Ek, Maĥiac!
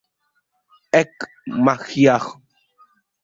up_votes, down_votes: 0, 2